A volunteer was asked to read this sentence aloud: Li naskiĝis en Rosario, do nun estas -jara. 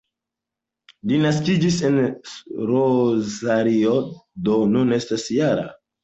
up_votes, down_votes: 2, 0